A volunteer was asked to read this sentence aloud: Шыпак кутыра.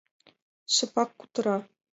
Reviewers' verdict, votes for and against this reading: accepted, 2, 0